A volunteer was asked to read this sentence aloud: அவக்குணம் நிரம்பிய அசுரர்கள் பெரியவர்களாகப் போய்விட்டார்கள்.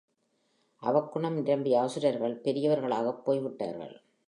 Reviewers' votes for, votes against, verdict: 2, 0, accepted